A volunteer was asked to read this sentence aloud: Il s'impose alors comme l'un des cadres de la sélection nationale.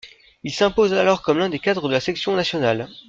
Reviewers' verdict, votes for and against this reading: accepted, 2, 0